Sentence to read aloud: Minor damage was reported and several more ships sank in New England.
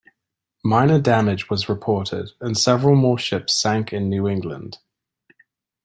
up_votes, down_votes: 2, 0